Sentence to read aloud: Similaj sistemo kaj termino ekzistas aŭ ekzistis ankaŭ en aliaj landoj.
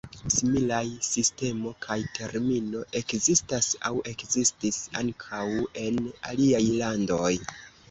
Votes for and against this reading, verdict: 0, 2, rejected